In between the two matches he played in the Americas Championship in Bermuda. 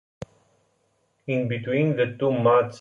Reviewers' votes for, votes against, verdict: 0, 2, rejected